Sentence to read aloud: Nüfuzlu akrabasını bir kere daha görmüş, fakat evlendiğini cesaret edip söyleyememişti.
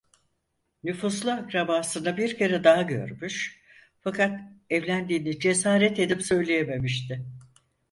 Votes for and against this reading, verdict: 4, 0, accepted